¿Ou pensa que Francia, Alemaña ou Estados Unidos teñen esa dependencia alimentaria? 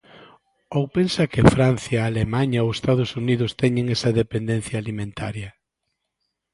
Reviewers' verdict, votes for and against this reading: accepted, 2, 0